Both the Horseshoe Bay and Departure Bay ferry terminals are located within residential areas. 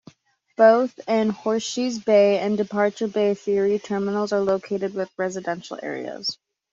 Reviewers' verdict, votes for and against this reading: rejected, 1, 2